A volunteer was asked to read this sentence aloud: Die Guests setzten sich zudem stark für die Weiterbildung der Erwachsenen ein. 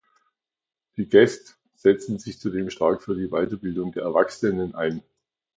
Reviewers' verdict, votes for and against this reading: accepted, 2, 0